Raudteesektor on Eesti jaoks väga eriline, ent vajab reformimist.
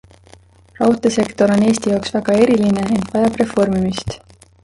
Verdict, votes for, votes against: rejected, 1, 2